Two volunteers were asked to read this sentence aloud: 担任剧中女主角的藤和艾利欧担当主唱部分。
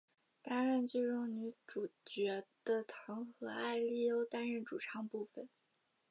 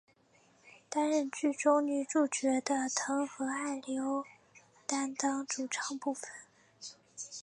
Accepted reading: second